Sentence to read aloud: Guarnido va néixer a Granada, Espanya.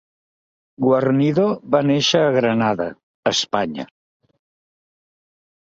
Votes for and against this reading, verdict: 3, 0, accepted